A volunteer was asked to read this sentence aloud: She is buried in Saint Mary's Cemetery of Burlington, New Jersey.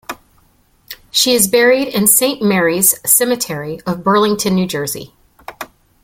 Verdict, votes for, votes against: accepted, 2, 0